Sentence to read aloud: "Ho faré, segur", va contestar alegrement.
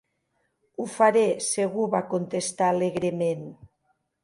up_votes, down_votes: 2, 0